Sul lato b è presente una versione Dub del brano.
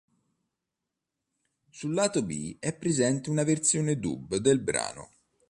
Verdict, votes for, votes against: accepted, 4, 0